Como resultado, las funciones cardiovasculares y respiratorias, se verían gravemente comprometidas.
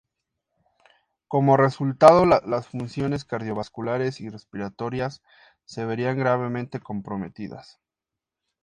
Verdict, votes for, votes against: accepted, 2, 0